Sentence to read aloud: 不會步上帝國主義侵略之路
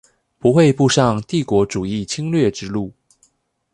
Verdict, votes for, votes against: accepted, 2, 0